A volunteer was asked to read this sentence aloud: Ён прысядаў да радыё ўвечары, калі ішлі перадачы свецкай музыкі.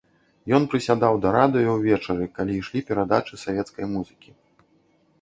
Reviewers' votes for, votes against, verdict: 0, 2, rejected